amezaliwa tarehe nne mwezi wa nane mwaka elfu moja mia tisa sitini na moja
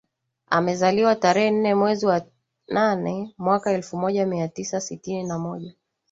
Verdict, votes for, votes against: accepted, 8, 0